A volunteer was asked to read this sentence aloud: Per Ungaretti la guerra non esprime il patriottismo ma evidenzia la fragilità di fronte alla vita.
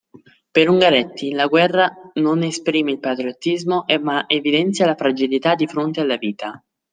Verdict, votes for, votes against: rejected, 0, 2